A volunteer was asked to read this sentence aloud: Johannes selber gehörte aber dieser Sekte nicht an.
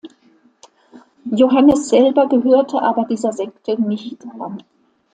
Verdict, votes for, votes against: accepted, 2, 1